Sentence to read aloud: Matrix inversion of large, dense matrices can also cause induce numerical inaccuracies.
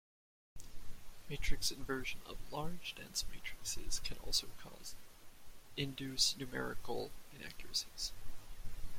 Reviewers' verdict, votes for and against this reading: rejected, 1, 2